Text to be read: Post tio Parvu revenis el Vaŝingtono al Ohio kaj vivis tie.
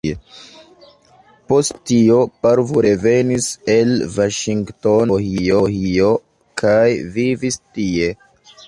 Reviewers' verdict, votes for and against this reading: rejected, 1, 2